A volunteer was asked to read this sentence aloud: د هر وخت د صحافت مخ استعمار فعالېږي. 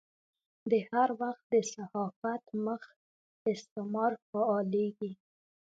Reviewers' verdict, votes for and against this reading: accepted, 2, 1